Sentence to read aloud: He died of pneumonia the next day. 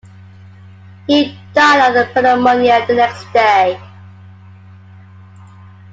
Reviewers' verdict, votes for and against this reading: rejected, 0, 2